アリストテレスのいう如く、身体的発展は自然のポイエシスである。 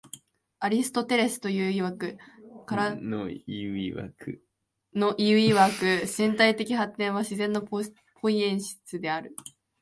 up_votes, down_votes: 1, 2